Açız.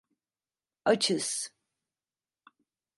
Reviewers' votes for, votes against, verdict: 2, 0, accepted